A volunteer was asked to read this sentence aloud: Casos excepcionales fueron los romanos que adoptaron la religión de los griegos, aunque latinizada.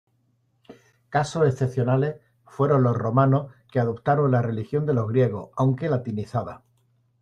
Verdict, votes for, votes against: accepted, 2, 0